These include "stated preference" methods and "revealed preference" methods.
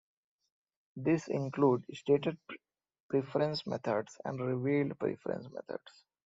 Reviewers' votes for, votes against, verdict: 0, 2, rejected